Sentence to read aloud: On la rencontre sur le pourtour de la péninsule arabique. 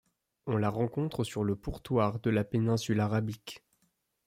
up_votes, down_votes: 0, 2